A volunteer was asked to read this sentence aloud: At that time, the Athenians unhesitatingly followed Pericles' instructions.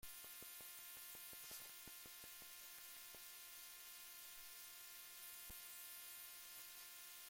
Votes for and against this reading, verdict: 0, 2, rejected